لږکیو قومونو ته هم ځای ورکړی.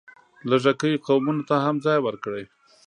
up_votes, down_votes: 2, 0